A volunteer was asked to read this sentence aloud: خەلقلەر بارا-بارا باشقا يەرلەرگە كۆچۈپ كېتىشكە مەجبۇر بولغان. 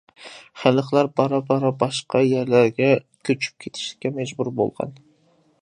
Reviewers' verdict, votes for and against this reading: accepted, 2, 0